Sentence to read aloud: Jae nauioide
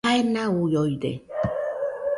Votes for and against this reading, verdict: 2, 0, accepted